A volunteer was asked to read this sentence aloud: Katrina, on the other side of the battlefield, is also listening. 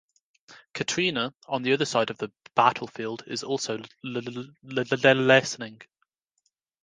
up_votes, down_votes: 1, 2